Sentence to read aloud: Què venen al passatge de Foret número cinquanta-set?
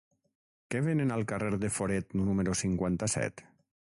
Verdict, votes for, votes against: rejected, 3, 6